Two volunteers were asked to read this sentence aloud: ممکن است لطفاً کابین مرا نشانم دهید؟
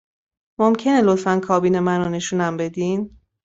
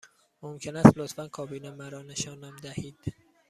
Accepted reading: second